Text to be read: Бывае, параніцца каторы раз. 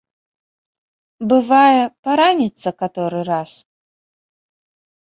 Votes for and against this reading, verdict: 2, 0, accepted